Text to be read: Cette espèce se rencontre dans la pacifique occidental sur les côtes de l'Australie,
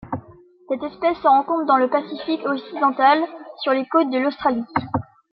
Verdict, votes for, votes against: accepted, 2, 0